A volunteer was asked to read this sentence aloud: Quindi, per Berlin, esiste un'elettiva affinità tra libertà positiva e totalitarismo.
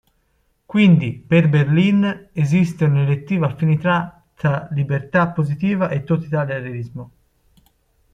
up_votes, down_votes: 1, 2